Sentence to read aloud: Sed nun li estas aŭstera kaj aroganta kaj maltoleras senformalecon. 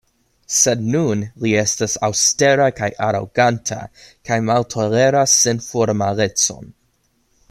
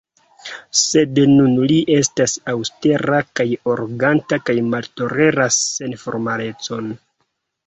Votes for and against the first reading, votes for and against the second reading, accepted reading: 2, 0, 2, 3, first